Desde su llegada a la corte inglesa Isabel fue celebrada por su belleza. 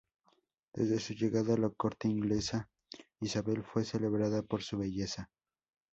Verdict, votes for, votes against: rejected, 0, 2